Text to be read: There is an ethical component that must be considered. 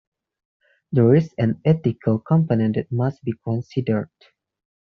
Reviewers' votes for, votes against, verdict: 2, 0, accepted